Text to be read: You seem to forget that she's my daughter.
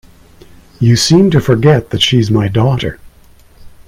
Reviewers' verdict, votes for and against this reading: accepted, 2, 0